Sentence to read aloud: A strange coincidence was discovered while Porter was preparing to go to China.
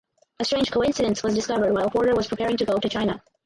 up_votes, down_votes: 0, 2